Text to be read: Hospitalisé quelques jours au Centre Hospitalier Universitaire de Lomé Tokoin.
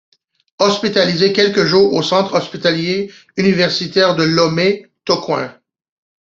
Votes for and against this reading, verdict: 2, 0, accepted